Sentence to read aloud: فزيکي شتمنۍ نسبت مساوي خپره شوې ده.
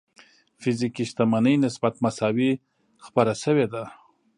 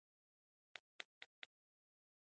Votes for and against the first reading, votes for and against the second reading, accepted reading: 2, 0, 1, 2, first